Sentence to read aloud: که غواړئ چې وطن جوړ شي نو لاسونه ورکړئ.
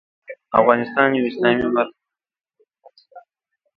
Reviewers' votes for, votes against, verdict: 0, 2, rejected